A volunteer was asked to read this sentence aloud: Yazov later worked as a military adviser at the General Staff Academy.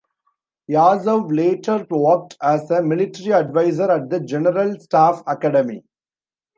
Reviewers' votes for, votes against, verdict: 2, 1, accepted